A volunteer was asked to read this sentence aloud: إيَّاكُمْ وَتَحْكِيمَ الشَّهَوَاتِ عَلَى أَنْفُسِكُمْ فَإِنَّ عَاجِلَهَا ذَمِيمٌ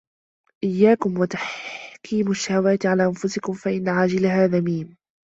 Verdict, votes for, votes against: accepted, 2, 1